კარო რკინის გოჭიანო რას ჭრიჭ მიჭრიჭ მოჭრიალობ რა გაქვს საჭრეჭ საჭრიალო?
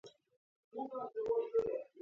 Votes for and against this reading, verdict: 0, 2, rejected